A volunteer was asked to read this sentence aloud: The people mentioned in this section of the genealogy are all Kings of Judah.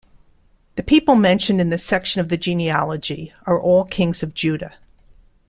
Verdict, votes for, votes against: accepted, 2, 0